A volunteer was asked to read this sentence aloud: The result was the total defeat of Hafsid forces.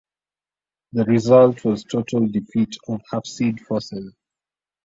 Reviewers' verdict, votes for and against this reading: rejected, 0, 2